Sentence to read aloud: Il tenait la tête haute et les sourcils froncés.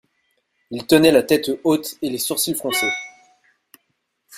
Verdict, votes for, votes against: rejected, 1, 2